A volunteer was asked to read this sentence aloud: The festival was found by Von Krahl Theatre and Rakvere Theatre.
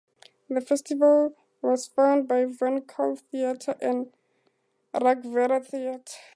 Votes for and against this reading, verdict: 0, 4, rejected